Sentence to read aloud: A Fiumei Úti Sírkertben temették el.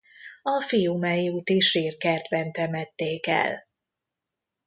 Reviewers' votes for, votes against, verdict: 0, 2, rejected